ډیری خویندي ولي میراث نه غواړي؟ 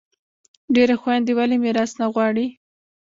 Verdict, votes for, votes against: rejected, 1, 2